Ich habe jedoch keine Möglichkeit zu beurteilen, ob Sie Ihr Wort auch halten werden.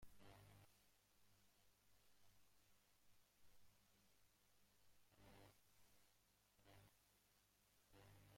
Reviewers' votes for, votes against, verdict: 0, 2, rejected